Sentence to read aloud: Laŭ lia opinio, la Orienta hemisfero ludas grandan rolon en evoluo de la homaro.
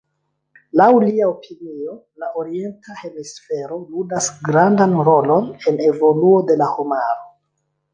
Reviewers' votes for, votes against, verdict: 2, 0, accepted